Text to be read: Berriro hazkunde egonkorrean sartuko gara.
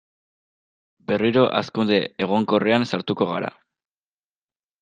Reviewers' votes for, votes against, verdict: 2, 0, accepted